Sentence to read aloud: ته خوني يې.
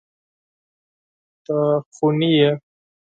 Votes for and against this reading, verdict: 2, 4, rejected